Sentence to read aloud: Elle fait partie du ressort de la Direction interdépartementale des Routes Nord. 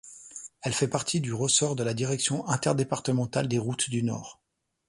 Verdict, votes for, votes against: rejected, 1, 2